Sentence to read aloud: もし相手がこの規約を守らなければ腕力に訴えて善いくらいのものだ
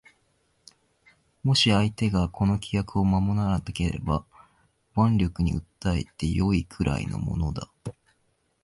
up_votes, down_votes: 2, 0